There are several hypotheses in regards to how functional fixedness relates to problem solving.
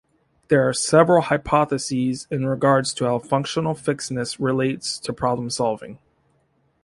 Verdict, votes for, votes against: accepted, 2, 0